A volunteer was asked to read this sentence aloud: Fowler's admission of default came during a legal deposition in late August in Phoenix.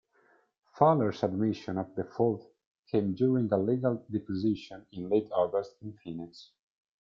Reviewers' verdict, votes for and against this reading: accepted, 2, 0